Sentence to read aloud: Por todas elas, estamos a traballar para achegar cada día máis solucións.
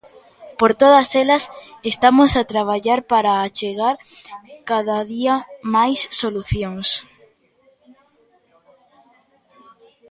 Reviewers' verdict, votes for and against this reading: accepted, 2, 0